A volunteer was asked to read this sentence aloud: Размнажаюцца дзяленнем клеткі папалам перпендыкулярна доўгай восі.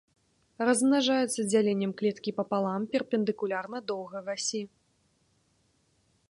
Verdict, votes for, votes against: rejected, 1, 2